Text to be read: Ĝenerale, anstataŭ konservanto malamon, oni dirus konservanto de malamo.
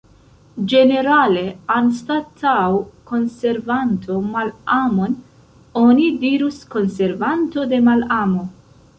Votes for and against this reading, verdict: 0, 2, rejected